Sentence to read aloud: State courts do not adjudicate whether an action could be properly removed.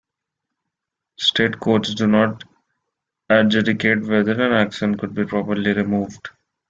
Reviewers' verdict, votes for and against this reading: rejected, 0, 2